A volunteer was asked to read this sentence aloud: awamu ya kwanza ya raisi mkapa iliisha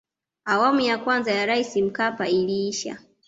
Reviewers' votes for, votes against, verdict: 2, 0, accepted